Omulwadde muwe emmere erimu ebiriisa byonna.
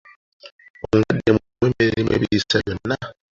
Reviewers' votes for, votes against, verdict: 0, 2, rejected